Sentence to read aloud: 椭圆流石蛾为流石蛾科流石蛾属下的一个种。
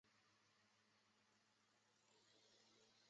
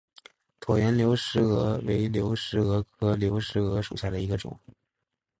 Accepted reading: second